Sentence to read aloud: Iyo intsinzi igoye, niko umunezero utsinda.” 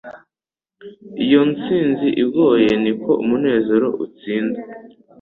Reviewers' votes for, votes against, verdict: 2, 0, accepted